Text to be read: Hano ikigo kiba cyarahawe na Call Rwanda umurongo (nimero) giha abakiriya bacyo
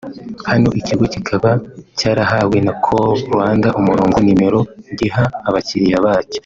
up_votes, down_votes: 2, 1